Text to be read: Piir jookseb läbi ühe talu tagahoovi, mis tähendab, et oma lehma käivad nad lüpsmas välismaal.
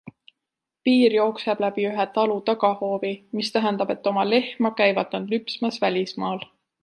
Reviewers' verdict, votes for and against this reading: accepted, 2, 0